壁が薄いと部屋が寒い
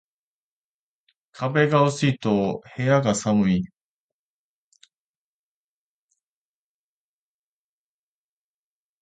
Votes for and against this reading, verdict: 0, 2, rejected